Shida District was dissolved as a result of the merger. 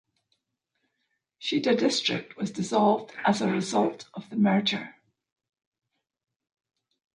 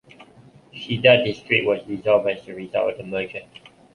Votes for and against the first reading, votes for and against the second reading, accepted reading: 2, 0, 0, 2, first